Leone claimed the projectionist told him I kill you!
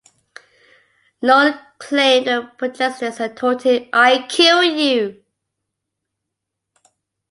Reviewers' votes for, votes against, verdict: 0, 2, rejected